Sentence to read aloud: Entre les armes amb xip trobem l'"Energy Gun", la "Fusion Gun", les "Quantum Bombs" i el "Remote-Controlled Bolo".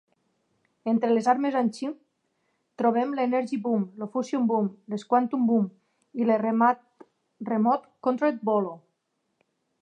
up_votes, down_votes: 0, 2